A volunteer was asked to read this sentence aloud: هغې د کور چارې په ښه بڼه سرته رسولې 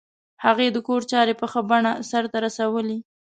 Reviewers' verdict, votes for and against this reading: accepted, 3, 0